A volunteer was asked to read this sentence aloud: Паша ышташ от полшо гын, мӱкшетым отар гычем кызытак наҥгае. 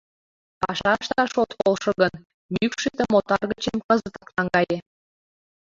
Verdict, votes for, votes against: rejected, 1, 2